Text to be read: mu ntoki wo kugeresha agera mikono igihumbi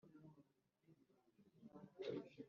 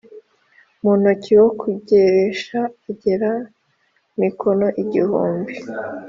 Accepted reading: second